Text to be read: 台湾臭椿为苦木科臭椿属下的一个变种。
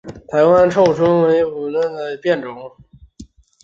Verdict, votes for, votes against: rejected, 4, 5